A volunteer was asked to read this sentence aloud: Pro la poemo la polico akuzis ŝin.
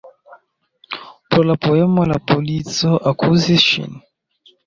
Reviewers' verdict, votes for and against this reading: accepted, 2, 0